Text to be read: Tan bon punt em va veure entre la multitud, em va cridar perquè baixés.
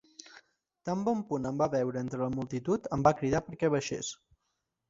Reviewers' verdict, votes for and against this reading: accepted, 2, 0